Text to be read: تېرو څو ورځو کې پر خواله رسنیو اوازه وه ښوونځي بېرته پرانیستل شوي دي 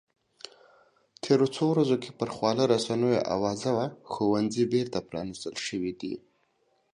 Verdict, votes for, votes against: accepted, 2, 0